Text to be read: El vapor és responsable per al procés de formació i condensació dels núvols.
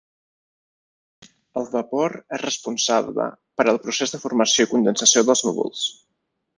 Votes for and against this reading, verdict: 2, 1, accepted